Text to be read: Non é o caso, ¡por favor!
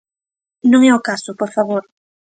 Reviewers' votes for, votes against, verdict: 3, 0, accepted